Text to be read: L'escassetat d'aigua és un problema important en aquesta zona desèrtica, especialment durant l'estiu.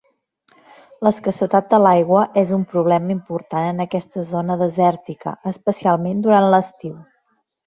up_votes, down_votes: 0, 2